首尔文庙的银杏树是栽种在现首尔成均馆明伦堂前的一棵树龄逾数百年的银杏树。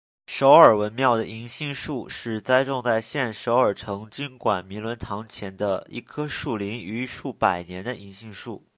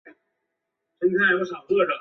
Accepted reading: first